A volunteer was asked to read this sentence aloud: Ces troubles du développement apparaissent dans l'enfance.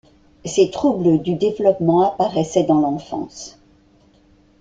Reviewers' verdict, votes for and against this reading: rejected, 1, 2